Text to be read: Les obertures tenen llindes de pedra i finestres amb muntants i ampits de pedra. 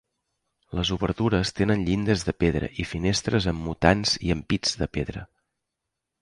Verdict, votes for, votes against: rejected, 0, 2